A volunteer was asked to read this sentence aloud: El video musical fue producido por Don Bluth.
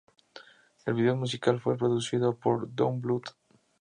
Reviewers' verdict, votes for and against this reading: accepted, 2, 0